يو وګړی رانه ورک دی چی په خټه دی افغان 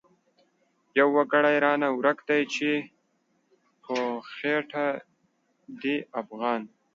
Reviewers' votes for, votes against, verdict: 2, 3, rejected